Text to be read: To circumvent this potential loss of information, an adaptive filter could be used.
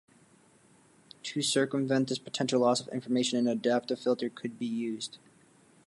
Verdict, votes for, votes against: accepted, 2, 0